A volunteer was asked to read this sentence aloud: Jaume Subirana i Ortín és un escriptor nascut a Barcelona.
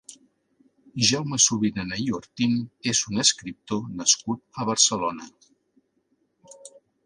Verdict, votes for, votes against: accepted, 2, 0